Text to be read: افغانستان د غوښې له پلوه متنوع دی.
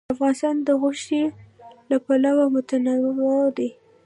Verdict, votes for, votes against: rejected, 1, 2